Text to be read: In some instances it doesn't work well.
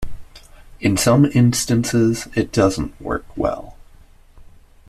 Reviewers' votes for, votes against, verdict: 2, 0, accepted